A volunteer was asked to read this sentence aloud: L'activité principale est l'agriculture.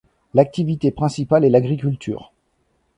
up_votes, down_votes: 2, 0